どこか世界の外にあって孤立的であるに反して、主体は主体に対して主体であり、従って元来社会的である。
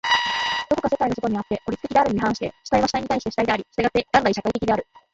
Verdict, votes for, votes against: rejected, 4, 5